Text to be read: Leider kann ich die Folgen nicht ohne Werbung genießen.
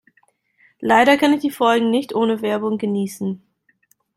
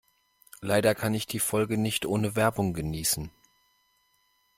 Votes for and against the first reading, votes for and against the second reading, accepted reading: 2, 0, 1, 2, first